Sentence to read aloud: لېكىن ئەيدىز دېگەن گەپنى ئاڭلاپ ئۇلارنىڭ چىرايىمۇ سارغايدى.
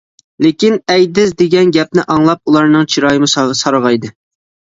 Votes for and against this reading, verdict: 1, 2, rejected